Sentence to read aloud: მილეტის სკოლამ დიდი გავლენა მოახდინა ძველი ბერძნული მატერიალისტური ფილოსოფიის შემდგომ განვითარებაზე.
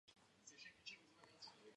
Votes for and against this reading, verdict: 1, 2, rejected